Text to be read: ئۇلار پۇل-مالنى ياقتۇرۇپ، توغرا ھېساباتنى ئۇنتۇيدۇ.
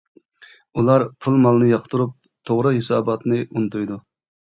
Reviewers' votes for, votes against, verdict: 2, 0, accepted